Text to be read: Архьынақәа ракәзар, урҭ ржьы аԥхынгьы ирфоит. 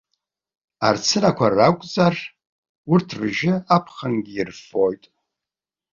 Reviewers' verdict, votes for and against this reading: rejected, 0, 2